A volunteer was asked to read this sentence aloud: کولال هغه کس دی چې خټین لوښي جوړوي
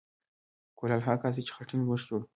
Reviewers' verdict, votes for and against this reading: rejected, 1, 2